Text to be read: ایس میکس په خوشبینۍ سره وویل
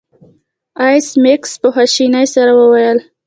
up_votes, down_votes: 2, 0